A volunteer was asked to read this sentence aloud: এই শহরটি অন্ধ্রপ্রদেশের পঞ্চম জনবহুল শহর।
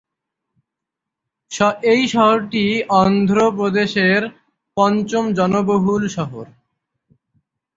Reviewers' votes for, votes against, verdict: 0, 6, rejected